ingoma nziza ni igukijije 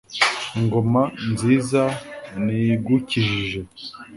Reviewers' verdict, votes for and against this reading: accepted, 2, 0